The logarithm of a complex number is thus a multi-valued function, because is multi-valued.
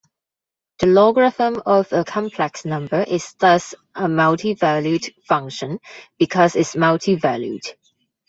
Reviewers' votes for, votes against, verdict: 2, 1, accepted